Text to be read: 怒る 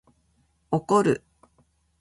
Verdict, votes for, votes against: rejected, 1, 2